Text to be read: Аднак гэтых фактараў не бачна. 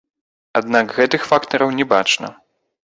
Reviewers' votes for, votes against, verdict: 0, 2, rejected